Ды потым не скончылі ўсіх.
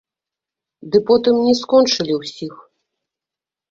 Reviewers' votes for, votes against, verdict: 0, 2, rejected